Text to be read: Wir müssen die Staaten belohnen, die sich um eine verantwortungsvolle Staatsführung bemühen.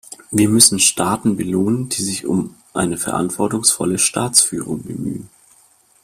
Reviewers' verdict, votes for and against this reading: rejected, 0, 2